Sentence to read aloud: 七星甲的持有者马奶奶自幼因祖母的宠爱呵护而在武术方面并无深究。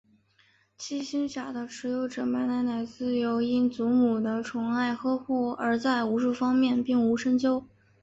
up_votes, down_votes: 2, 1